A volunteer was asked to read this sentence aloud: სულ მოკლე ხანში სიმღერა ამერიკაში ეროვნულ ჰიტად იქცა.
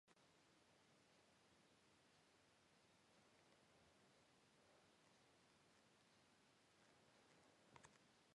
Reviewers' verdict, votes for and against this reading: rejected, 0, 2